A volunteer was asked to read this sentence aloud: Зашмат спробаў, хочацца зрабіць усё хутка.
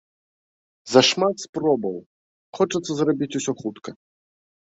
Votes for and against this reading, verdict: 2, 0, accepted